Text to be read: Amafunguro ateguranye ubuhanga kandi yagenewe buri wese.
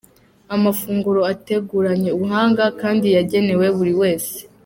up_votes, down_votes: 2, 0